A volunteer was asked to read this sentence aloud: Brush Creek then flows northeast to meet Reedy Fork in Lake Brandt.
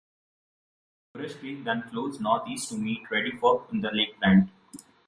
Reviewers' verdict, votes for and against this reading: rejected, 1, 2